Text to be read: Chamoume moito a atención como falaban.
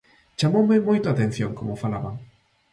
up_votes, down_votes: 2, 0